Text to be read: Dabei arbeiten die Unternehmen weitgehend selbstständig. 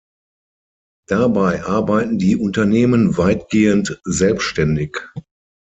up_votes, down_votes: 6, 0